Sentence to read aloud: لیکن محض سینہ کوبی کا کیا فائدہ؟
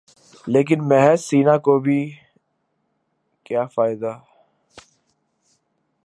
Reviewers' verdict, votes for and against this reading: rejected, 0, 2